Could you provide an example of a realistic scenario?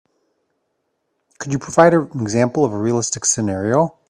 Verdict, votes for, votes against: rejected, 1, 2